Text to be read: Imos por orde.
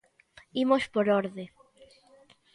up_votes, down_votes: 2, 1